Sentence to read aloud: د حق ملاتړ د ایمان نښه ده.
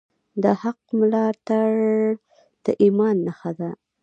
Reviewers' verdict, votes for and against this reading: rejected, 0, 2